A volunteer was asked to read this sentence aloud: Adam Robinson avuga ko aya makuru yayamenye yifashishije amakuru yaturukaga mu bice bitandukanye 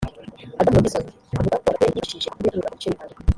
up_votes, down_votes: 0, 2